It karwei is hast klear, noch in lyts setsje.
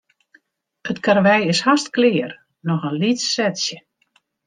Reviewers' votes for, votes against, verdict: 0, 2, rejected